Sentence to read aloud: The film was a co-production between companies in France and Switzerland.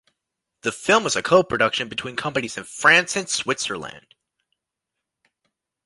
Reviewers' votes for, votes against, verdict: 2, 0, accepted